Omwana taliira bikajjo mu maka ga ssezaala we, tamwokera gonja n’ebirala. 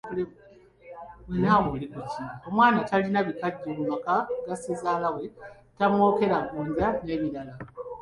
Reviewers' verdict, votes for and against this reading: rejected, 0, 2